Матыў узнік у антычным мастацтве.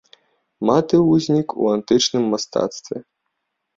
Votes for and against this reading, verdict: 0, 2, rejected